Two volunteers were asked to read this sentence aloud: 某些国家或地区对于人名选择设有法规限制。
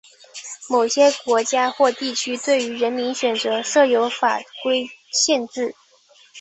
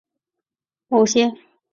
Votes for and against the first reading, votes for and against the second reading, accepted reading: 2, 1, 0, 3, first